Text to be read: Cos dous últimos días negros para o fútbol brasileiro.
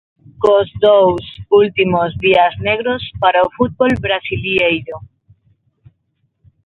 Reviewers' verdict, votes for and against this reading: rejected, 0, 6